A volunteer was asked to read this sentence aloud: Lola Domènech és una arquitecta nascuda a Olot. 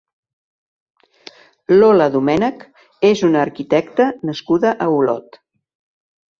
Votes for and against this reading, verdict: 3, 0, accepted